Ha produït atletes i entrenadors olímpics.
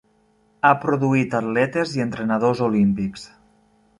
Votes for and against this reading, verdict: 3, 0, accepted